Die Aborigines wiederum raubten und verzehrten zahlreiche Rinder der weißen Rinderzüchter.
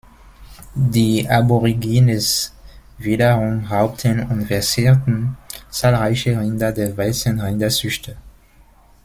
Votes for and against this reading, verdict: 1, 2, rejected